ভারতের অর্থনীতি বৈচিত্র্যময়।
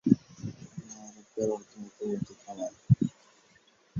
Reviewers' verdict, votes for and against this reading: rejected, 0, 5